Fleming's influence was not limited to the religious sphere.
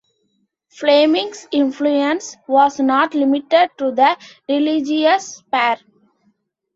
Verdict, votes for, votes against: rejected, 2, 3